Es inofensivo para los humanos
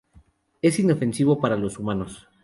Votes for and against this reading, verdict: 6, 0, accepted